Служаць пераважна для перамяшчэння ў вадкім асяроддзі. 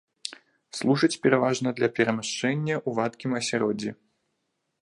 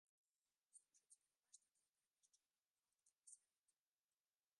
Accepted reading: first